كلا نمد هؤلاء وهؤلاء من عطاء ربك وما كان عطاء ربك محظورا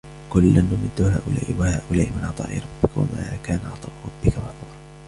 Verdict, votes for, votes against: rejected, 1, 2